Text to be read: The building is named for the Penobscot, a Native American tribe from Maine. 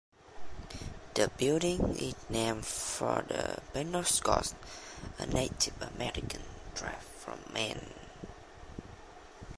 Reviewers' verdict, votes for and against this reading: rejected, 0, 2